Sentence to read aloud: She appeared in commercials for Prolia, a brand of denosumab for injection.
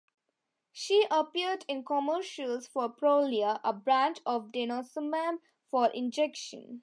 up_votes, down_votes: 3, 0